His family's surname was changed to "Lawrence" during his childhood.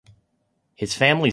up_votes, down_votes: 1, 2